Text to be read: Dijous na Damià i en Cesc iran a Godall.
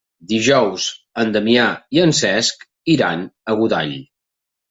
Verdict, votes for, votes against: rejected, 2, 3